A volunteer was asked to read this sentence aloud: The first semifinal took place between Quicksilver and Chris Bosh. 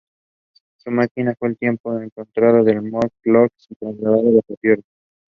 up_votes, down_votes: 0, 2